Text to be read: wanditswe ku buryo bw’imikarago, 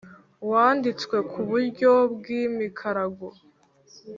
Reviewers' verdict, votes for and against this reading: accepted, 3, 0